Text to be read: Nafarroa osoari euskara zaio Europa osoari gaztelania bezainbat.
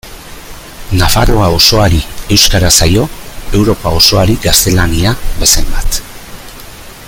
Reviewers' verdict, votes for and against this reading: rejected, 0, 2